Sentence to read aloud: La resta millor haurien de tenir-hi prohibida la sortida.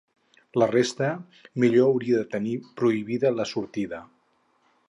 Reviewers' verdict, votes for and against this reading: rejected, 0, 2